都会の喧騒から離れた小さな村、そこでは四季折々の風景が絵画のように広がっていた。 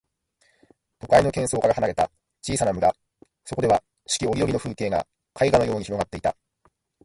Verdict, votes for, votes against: rejected, 1, 2